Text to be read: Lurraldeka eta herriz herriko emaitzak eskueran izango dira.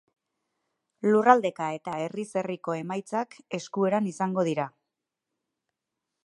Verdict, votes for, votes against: accepted, 4, 0